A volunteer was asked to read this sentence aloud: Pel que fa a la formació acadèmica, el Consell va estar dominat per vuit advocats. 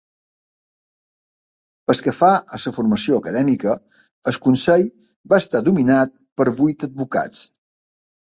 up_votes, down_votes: 0, 2